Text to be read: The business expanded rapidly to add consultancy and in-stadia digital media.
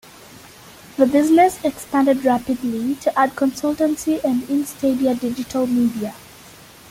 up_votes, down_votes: 0, 2